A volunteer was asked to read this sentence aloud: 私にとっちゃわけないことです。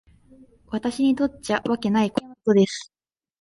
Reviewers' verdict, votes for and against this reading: accepted, 3, 0